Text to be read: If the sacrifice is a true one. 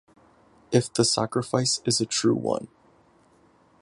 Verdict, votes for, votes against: accepted, 2, 0